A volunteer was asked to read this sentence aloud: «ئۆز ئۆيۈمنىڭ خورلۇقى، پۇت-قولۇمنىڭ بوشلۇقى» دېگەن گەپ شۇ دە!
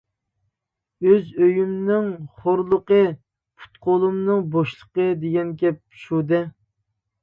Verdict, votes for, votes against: accepted, 2, 0